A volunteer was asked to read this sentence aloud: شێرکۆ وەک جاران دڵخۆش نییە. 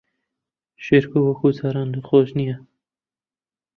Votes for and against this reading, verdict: 1, 2, rejected